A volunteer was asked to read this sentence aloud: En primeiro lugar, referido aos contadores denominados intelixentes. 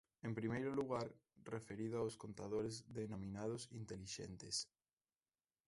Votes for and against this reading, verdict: 2, 1, accepted